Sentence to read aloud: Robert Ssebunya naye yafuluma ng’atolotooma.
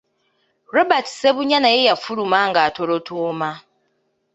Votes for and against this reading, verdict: 2, 0, accepted